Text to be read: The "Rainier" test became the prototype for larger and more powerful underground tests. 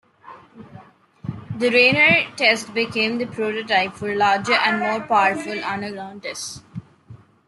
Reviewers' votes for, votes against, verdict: 2, 0, accepted